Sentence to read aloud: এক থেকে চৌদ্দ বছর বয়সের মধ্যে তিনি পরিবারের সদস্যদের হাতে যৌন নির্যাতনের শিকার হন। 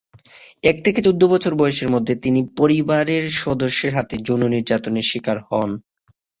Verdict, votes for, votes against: accepted, 6, 0